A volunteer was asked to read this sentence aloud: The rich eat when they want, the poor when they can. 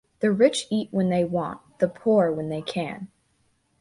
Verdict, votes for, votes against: accepted, 2, 0